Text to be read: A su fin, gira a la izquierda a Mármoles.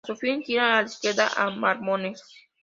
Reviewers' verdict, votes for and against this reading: rejected, 0, 2